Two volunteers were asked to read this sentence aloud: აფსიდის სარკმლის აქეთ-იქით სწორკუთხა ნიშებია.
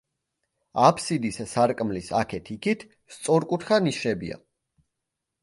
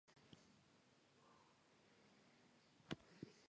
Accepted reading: first